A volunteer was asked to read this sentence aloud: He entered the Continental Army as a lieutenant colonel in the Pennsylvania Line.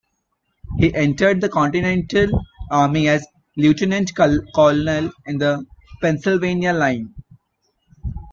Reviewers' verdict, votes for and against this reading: rejected, 1, 2